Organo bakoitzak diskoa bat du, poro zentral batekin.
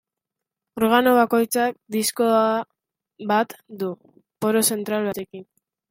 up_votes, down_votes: 2, 1